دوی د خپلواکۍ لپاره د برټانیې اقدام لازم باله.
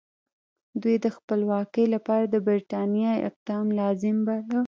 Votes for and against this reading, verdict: 1, 2, rejected